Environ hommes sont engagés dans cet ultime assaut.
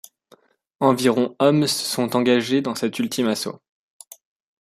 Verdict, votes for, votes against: rejected, 0, 2